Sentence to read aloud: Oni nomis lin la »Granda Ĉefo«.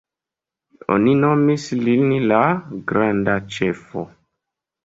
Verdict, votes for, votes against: accepted, 2, 0